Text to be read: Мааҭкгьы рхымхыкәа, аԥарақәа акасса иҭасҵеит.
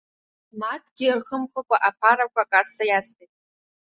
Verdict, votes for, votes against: rejected, 1, 2